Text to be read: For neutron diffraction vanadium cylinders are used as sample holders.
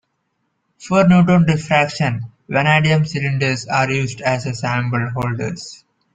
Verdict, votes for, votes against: rejected, 0, 2